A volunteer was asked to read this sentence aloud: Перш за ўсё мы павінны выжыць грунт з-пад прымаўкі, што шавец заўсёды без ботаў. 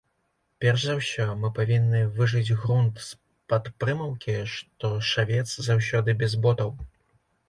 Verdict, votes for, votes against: rejected, 0, 2